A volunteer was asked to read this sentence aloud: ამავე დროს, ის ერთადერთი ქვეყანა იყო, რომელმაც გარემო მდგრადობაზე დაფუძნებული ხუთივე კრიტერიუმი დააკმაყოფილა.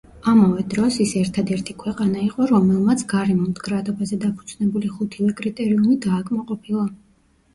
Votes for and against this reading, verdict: 1, 2, rejected